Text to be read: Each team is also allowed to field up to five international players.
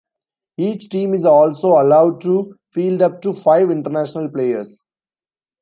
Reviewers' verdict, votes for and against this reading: rejected, 0, 2